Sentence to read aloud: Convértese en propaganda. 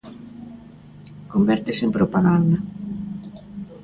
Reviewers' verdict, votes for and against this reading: accepted, 2, 0